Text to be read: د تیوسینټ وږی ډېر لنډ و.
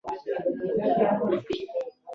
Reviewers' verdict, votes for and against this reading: rejected, 1, 2